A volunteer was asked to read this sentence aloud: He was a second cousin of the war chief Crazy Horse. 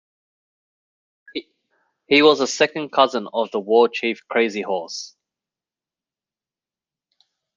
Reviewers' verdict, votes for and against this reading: accepted, 2, 1